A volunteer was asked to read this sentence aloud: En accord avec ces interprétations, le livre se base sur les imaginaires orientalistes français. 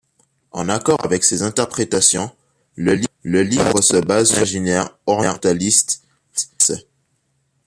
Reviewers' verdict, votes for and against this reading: rejected, 0, 2